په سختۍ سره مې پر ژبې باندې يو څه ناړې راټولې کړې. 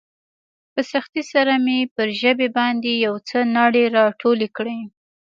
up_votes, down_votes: 2, 0